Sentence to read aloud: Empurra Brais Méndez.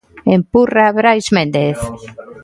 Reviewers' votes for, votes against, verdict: 3, 0, accepted